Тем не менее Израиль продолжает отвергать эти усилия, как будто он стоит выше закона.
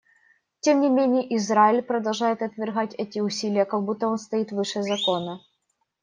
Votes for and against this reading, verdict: 2, 0, accepted